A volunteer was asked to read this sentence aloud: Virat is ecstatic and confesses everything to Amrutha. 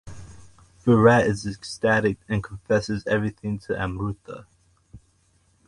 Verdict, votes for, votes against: accepted, 2, 1